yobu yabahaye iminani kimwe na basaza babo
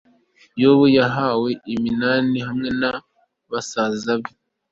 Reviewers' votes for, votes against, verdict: 2, 0, accepted